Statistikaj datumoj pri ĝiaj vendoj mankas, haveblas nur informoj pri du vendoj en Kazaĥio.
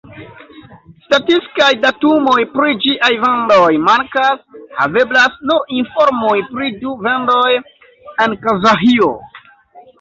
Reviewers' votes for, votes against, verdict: 1, 2, rejected